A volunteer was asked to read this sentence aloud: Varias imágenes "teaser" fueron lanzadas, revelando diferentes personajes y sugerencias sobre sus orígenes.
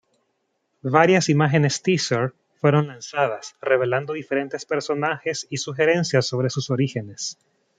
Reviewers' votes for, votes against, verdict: 2, 0, accepted